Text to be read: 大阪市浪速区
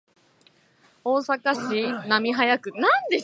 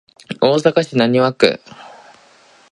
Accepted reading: second